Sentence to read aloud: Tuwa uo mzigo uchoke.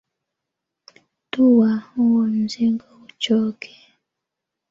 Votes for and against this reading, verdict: 1, 2, rejected